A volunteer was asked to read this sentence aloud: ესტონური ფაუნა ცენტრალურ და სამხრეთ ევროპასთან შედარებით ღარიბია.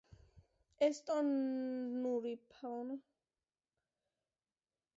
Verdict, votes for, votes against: rejected, 0, 2